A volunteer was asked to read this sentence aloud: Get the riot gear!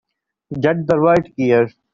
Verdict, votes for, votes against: rejected, 1, 2